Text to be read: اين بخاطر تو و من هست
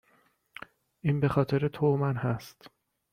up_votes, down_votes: 2, 0